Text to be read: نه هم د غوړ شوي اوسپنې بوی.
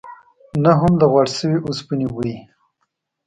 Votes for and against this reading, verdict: 2, 1, accepted